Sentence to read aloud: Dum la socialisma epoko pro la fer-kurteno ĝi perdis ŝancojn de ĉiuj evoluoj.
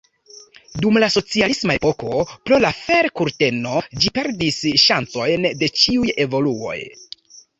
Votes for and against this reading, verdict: 2, 0, accepted